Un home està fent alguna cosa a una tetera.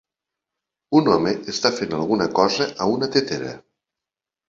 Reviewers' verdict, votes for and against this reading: accepted, 3, 0